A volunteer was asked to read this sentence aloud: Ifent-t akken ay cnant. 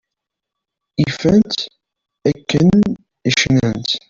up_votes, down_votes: 1, 2